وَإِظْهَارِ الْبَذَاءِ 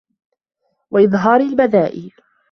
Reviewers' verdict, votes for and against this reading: accepted, 2, 0